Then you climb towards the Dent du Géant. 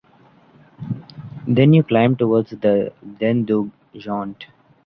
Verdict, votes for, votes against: rejected, 1, 2